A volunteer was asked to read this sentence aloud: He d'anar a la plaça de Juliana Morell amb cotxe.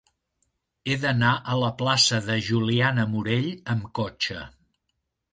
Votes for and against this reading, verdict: 3, 0, accepted